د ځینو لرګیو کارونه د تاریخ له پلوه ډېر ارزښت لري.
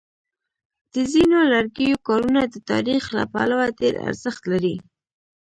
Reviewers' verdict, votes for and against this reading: accepted, 2, 1